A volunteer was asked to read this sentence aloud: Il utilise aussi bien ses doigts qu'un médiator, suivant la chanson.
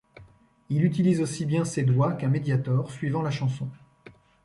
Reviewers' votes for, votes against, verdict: 2, 0, accepted